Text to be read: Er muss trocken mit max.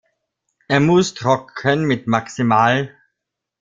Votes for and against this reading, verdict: 0, 2, rejected